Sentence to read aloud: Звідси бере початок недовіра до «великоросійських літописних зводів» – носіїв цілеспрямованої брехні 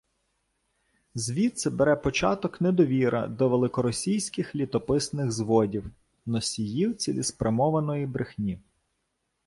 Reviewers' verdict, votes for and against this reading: accepted, 2, 0